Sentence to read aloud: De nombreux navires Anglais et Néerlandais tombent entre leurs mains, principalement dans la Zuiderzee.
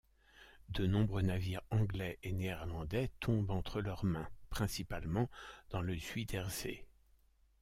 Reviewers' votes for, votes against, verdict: 1, 2, rejected